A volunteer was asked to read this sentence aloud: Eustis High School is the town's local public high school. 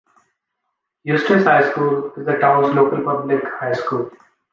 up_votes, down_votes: 2, 0